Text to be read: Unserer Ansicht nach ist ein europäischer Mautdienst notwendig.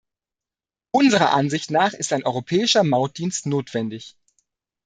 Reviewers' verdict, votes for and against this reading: accepted, 2, 0